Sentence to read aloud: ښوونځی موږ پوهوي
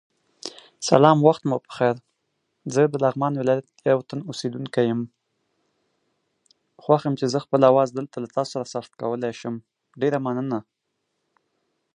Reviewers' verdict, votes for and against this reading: rejected, 0, 2